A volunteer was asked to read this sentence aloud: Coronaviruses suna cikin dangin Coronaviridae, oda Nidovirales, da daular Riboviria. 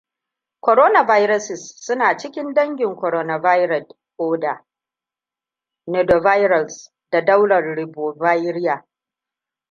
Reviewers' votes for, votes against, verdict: 2, 0, accepted